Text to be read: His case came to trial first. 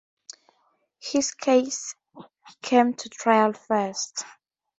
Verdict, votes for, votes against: accepted, 2, 0